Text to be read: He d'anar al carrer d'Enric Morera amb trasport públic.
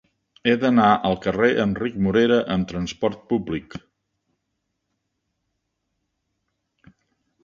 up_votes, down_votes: 2, 0